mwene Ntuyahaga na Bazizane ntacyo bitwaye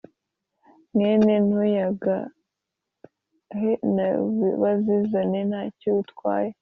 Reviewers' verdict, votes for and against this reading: rejected, 1, 2